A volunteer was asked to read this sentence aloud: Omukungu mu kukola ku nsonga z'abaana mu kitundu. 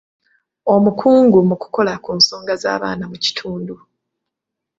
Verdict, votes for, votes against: accepted, 2, 0